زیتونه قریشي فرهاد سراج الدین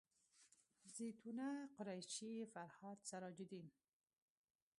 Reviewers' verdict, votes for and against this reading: rejected, 1, 2